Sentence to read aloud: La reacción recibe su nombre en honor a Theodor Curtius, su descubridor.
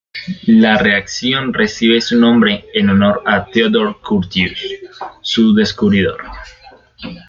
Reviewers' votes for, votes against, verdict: 1, 2, rejected